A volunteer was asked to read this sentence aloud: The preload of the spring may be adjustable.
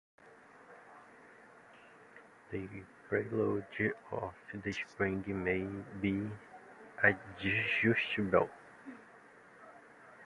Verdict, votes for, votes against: rejected, 0, 2